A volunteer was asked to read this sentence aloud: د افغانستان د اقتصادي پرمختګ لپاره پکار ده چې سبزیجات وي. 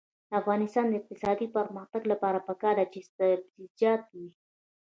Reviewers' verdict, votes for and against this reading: rejected, 1, 2